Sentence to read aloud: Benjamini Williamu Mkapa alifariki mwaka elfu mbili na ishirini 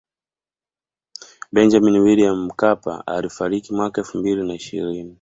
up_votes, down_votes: 0, 2